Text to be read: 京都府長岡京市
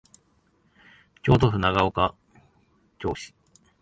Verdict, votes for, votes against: rejected, 0, 2